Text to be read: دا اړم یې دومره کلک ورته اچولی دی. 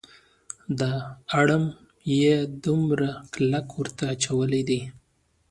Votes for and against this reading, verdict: 2, 0, accepted